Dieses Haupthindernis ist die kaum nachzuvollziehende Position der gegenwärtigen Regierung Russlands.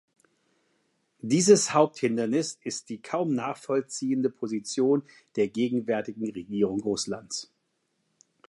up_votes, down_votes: 0, 2